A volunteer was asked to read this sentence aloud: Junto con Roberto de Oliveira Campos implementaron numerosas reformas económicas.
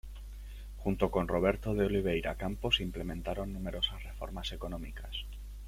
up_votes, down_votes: 1, 2